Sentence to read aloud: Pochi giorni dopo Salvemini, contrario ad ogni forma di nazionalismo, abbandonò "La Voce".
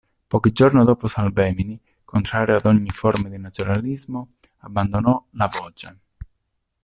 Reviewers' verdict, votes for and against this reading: rejected, 1, 2